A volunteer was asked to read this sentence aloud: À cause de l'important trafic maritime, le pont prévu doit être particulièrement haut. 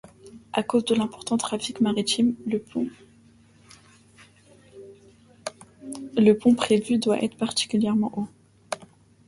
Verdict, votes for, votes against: rejected, 0, 2